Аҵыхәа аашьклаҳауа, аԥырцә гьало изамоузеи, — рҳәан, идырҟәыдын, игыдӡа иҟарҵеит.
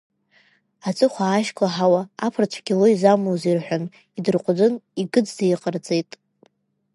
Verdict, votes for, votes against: rejected, 1, 2